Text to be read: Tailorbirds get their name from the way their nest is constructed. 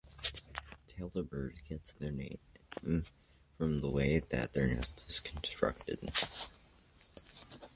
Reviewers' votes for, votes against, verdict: 0, 2, rejected